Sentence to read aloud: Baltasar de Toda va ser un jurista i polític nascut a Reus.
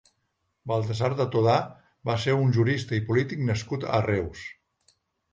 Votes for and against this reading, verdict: 1, 2, rejected